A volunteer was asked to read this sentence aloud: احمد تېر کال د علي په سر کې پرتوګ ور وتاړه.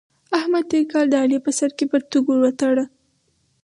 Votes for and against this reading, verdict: 2, 2, rejected